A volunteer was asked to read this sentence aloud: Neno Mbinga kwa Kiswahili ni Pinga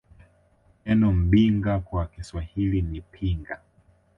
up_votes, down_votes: 3, 0